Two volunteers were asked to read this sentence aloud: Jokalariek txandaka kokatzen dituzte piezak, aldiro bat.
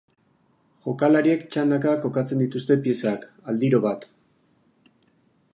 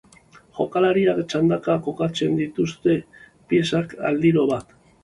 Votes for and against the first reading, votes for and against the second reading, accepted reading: 4, 0, 2, 2, first